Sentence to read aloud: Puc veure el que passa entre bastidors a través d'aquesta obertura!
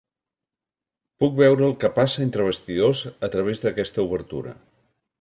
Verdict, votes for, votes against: accepted, 3, 0